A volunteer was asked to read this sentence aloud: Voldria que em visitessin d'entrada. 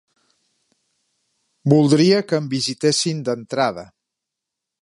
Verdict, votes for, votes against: accepted, 2, 0